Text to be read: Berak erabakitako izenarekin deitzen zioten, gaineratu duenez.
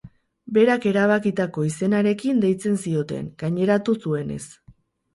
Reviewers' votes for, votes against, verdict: 2, 6, rejected